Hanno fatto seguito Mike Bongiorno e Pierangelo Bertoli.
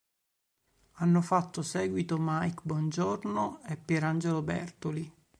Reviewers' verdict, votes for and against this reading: accepted, 3, 0